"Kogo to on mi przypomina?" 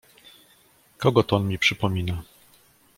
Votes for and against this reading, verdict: 2, 0, accepted